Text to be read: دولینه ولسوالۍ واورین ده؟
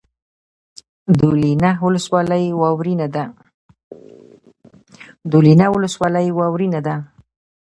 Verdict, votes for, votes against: rejected, 1, 2